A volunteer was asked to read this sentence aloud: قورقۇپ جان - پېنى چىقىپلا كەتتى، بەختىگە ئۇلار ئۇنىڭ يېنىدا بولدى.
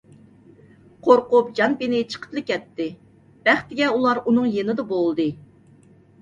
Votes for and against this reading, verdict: 2, 0, accepted